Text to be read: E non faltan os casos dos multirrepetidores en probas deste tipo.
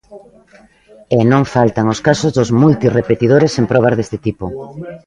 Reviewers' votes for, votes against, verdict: 1, 2, rejected